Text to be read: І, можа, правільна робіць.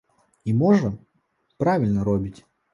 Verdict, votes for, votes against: accepted, 2, 1